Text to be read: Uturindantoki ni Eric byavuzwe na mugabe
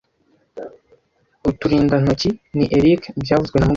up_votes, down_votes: 1, 2